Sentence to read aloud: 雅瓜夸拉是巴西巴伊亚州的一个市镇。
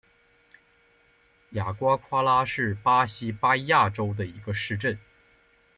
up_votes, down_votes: 2, 0